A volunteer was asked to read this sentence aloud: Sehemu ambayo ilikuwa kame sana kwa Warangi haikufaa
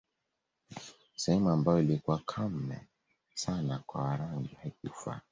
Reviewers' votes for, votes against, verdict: 3, 0, accepted